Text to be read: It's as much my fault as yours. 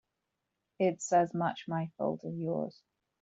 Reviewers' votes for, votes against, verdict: 3, 0, accepted